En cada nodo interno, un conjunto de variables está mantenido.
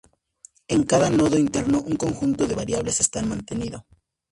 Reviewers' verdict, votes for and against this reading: rejected, 0, 4